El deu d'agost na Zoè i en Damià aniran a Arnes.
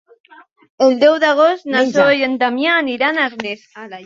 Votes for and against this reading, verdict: 0, 2, rejected